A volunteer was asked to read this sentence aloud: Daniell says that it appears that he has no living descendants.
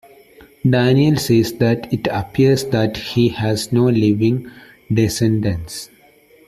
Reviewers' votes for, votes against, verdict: 2, 0, accepted